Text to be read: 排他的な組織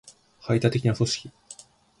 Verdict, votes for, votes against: accepted, 2, 0